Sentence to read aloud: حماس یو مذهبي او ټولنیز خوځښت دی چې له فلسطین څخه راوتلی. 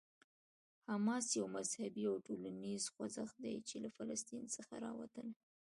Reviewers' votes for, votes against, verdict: 2, 1, accepted